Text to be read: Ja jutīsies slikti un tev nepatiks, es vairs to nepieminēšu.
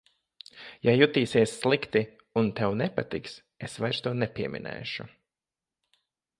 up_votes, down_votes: 2, 0